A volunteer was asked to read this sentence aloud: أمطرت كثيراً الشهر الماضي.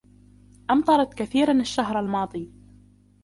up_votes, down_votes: 2, 0